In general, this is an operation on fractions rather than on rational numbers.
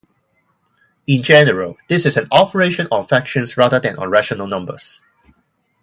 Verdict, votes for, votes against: rejected, 2, 2